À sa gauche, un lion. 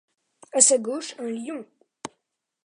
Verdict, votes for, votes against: accepted, 2, 0